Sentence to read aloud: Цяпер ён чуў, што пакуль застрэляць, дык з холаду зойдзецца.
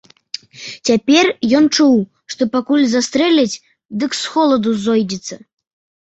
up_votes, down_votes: 2, 0